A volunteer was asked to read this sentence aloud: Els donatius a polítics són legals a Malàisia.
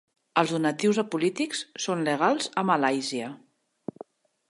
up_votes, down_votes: 3, 0